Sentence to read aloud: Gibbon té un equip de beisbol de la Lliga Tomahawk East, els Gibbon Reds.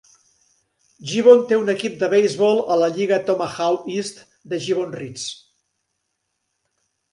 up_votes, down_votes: 0, 2